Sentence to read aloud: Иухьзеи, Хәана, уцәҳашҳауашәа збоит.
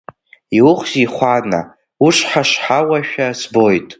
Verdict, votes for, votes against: rejected, 0, 2